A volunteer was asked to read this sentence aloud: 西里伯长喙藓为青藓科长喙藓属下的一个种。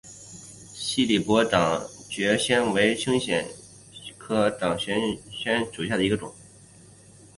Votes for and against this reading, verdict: 2, 3, rejected